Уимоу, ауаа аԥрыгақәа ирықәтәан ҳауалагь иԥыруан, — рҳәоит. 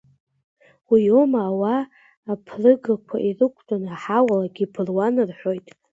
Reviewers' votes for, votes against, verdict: 2, 1, accepted